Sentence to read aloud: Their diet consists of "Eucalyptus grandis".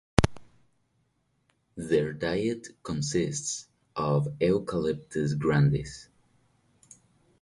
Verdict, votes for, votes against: rejected, 0, 4